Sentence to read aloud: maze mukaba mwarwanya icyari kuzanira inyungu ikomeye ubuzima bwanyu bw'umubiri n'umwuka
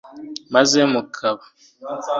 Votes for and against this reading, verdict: 1, 4, rejected